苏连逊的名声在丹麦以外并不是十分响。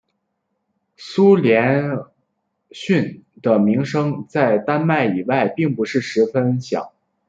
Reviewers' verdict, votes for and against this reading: accepted, 2, 1